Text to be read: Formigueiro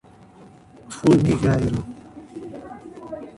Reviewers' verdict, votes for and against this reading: rejected, 1, 2